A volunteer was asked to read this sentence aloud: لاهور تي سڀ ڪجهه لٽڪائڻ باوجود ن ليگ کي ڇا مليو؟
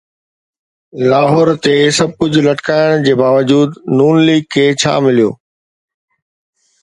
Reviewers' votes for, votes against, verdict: 2, 0, accepted